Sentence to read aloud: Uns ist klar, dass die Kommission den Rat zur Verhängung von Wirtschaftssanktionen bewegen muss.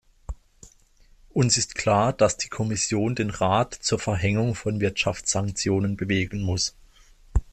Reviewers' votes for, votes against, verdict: 2, 0, accepted